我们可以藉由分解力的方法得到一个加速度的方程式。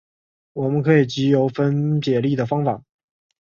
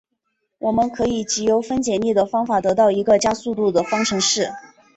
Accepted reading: second